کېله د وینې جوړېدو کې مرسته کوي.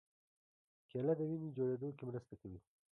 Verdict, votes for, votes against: rejected, 0, 2